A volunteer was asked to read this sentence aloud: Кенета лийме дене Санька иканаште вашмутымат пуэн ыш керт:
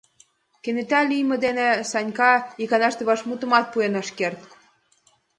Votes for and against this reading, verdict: 2, 0, accepted